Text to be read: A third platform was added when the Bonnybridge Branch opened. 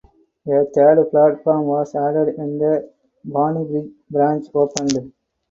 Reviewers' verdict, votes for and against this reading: rejected, 0, 4